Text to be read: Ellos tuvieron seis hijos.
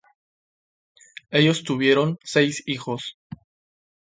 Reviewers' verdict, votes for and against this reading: rejected, 2, 2